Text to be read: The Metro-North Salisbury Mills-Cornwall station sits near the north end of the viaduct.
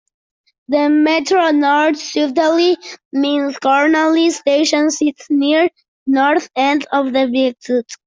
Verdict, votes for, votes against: accepted, 2, 1